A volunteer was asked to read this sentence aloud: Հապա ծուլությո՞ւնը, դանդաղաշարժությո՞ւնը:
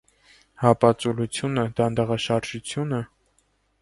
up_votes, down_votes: 0, 2